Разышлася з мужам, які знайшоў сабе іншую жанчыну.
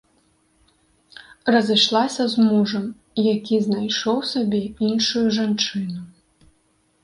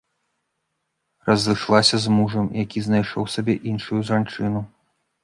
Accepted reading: first